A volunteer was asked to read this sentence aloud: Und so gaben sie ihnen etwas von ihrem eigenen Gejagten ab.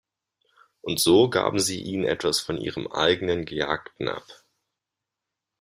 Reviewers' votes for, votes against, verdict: 2, 0, accepted